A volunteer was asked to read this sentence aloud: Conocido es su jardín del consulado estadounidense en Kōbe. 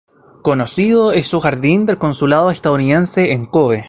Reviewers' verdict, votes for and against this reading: accepted, 2, 0